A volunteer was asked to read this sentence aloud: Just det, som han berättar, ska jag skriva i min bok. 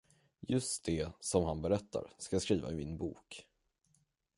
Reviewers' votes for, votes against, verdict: 10, 0, accepted